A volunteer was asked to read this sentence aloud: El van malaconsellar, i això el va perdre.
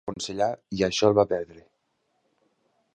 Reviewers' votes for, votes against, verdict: 0, 2, rejected